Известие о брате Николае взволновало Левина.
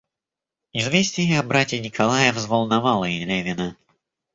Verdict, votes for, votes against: rejected, 1, 2